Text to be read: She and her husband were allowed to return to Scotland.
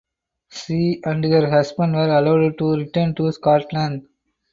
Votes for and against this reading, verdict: 4, 0, accepted